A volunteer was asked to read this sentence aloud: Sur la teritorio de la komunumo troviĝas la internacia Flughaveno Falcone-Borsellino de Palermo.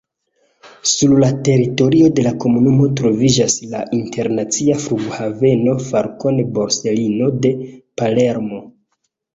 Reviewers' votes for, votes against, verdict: 0, 2, rejected